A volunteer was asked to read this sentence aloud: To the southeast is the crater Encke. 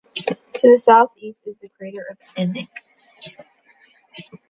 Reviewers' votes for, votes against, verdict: 1, 2, rejected